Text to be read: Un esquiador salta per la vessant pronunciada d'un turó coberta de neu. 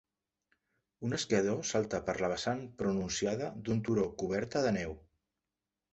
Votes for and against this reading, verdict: 3, 0, accepted